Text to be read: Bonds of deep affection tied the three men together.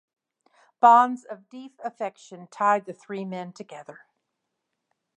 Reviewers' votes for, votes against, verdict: 2, 0, accepted